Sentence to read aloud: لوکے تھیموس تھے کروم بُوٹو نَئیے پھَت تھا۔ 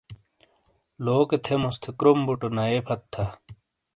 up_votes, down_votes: 2, 0